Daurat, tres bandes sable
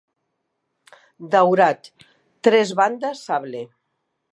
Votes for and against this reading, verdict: 2, 0, accepted